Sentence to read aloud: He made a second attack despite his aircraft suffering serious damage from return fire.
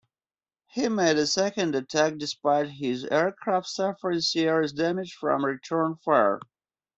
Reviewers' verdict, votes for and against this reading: accepted, 2, 0